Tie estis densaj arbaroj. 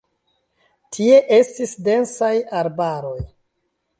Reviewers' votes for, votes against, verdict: 2, 0, accepted